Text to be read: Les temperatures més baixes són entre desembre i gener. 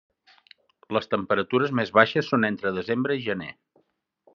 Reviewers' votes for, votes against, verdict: 3, 0, accepted